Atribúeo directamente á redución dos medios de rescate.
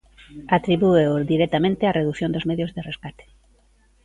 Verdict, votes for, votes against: accepted, 2, 0